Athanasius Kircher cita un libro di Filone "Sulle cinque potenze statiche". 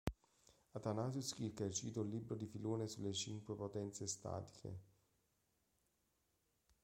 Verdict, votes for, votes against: accepted, 2, 1